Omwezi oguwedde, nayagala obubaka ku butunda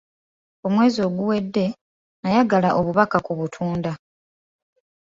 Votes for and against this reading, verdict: 2, 0, accepted